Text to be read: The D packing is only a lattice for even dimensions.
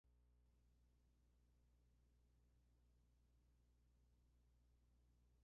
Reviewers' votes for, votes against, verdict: 0, 2, rejected